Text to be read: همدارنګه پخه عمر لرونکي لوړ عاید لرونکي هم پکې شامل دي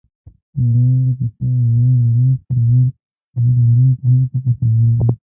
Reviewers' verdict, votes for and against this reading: rejected, 1, 2